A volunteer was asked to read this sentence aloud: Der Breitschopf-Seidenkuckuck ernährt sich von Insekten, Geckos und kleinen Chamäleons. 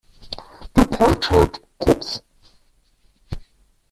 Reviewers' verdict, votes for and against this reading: rejected, 0, 2